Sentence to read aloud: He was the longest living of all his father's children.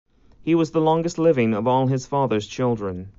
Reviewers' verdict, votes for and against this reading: accepted, 3, 0